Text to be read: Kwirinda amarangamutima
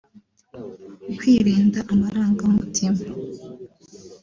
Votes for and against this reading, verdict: 2, 1, accepted